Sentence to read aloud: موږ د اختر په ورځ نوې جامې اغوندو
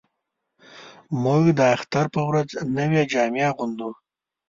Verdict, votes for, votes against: accepted, 2, 0